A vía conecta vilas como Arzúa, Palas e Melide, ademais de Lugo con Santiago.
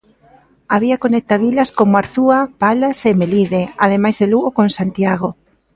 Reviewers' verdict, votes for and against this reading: accepted, 2, 0